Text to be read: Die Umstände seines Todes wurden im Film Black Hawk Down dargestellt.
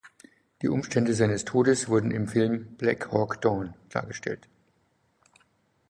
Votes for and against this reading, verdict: 4, 0, accepted